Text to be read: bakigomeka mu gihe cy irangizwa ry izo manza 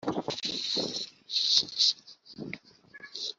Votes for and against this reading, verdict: 1, 2, rejected